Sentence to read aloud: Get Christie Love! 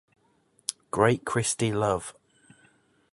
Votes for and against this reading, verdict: 0, 2, rejected